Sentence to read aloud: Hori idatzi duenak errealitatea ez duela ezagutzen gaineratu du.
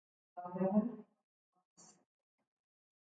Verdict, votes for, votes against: rejected, 0, 3